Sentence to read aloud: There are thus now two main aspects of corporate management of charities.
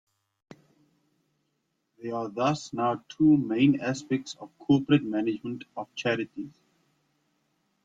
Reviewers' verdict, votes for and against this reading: rejected, 2, 3